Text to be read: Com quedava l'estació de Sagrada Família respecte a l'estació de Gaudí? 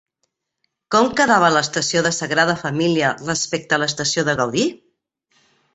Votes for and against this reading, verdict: 3, 0, accepted